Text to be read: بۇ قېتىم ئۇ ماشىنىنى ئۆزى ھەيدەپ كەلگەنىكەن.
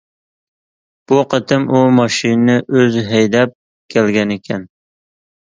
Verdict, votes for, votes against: accepted, 2, 0